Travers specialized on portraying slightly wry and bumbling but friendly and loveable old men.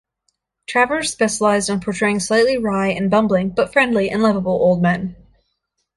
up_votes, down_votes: 2, 0